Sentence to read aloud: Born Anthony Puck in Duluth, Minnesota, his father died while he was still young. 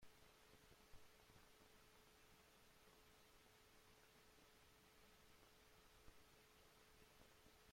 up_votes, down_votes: 0, 2